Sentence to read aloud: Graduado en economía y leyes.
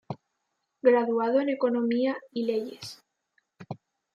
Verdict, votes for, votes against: accepted, 2, 1